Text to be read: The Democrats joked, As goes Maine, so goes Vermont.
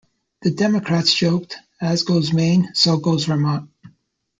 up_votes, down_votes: 2, 0